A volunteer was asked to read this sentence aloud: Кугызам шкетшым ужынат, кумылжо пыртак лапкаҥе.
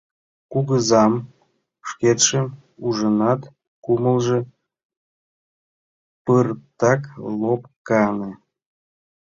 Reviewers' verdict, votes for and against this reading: rejected, 1, 2